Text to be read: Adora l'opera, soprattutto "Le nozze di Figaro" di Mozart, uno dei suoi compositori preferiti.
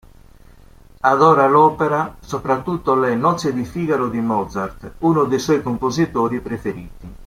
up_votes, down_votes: 2, 0